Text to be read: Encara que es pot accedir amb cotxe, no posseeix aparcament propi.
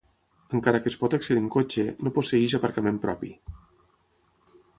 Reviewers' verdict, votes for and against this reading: rejected, 0, 3